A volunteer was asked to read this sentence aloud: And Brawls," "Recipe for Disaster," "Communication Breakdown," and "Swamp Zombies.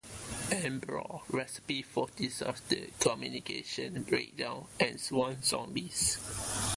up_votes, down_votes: 0, 2